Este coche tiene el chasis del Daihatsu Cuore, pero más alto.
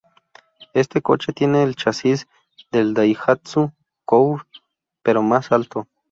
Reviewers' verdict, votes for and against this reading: rejected, 0, 2